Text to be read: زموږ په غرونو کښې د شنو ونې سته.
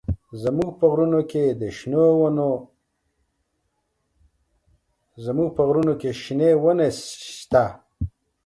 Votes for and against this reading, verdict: 1, 2, rejected